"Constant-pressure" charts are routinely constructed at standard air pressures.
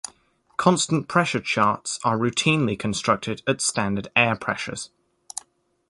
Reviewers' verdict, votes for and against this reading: accepted, 2, 0